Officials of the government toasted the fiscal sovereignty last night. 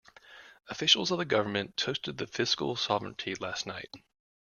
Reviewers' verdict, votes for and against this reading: accepted, 2, 0